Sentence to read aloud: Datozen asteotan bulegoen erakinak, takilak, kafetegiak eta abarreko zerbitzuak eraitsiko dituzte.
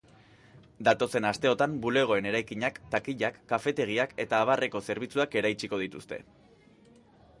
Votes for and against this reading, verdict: 2, 0, accepted